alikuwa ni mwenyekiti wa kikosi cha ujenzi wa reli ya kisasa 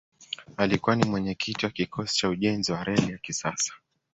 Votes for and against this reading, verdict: 2, 0, accepted